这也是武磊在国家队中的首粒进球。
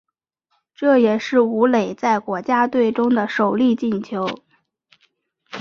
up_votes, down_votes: 3, 0